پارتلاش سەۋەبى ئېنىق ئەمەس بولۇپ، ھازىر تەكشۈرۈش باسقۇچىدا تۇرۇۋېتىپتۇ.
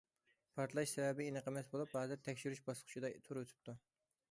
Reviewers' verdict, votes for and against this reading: accepted, 2, 0